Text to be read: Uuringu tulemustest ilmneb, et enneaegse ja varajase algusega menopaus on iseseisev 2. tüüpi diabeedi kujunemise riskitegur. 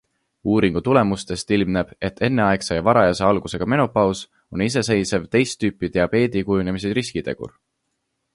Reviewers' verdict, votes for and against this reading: rejected, 0, 2